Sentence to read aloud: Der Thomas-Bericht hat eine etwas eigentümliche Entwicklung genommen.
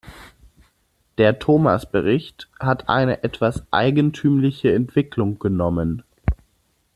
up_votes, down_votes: 2, 0